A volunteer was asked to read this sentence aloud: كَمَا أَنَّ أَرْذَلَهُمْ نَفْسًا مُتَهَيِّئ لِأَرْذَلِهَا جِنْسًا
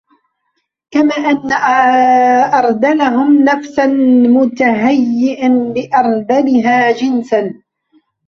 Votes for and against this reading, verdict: 0, 2, rejected